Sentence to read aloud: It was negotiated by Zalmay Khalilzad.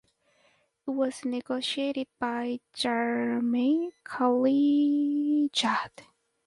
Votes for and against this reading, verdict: 0, 4, rejected